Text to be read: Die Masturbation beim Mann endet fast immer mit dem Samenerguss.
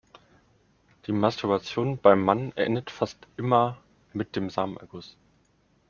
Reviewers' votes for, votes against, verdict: 2, 0, accepted